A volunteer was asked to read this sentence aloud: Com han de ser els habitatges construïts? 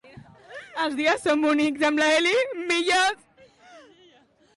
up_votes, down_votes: 0, 2